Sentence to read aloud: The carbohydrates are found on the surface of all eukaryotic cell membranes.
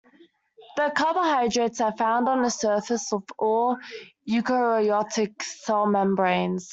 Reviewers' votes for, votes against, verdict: 1, 2, rejected